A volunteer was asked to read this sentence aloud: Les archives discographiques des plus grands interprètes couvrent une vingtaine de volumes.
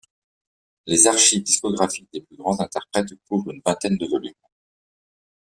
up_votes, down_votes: 2, 0